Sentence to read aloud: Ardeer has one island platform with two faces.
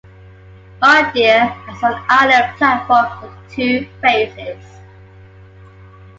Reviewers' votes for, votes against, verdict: 1, 2, rejected